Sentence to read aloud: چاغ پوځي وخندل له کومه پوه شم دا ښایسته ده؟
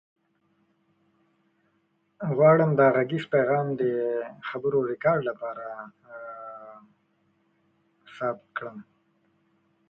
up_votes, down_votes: 0, 2